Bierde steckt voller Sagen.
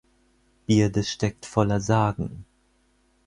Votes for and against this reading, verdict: 4, 0, accepted